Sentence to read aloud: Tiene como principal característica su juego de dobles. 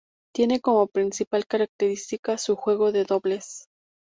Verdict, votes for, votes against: accepted, 2, 0